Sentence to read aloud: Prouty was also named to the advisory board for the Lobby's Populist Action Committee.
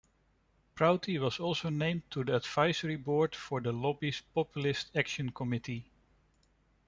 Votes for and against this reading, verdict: 0, 2, rejected